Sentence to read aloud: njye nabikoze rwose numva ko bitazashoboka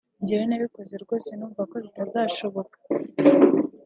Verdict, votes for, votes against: rejected, 0, 2